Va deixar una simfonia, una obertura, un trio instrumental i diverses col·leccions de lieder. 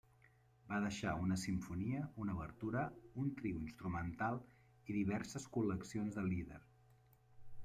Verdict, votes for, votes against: rejected, 1, 2